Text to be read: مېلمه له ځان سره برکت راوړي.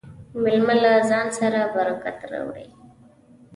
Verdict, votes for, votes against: accepted, 2, 0